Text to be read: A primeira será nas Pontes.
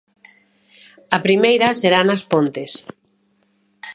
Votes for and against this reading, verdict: 2, 0, accepted